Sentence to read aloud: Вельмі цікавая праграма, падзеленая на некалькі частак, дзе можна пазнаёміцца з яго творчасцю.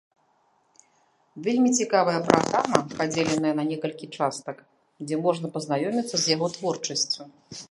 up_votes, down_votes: 3, 1